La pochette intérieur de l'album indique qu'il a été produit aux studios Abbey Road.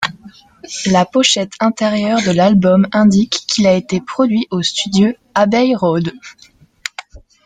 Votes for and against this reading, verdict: 0, 2, rejected